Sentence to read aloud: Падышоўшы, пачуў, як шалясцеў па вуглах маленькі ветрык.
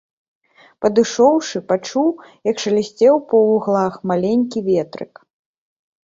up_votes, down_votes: 2, 0